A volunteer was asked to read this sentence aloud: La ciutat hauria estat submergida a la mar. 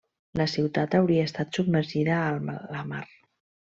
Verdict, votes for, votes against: rejected, 1, 2